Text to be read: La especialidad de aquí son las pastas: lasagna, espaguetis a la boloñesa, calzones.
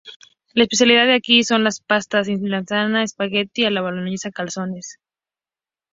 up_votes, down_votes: 0, 2